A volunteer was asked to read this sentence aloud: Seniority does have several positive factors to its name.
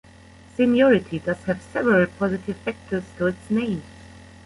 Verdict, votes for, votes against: rejected, 0, 2